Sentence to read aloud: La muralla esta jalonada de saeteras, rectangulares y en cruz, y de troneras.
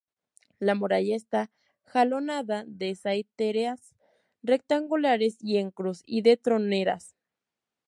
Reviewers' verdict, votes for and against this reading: rejected, 0, 2